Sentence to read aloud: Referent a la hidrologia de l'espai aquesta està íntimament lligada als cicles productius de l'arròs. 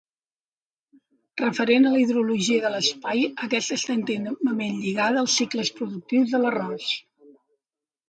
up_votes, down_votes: 0, 2